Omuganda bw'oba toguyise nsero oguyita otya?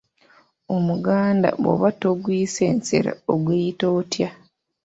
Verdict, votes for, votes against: accepted, 3, 0